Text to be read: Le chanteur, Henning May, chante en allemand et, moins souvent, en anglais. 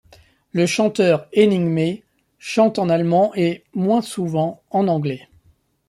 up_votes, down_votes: 0, 2